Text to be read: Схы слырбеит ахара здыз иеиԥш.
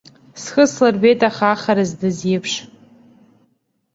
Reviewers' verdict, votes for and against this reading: rejected, 1, 2